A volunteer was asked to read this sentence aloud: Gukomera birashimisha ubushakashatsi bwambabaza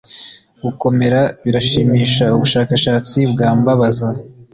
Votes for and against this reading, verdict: 2, 0, accepted